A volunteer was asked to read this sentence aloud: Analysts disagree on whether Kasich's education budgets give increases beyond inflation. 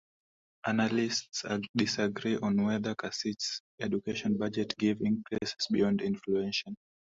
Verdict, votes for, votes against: rejected, 0, 2